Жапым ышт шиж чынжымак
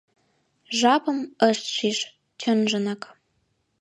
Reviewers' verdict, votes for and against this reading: rejected, 1, 2